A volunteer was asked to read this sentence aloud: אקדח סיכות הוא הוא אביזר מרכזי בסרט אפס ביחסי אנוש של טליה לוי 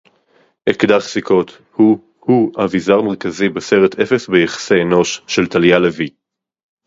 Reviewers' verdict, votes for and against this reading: accepted, 4, 0